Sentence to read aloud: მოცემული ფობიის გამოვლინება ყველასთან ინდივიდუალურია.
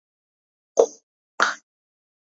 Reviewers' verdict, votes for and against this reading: rejected, 0, 2